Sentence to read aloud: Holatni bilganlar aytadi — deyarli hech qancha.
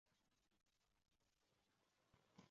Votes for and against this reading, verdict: 0, 2, rejected